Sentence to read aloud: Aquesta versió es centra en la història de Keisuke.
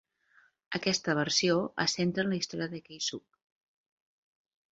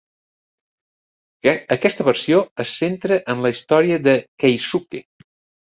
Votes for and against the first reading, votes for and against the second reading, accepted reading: 4, 0, 0, 2, first